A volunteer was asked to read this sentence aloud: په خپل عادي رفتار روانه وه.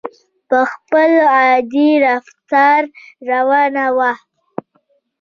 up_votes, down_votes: 1, 2